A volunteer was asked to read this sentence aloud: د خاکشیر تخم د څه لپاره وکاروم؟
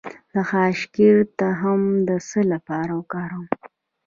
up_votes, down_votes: 1, 2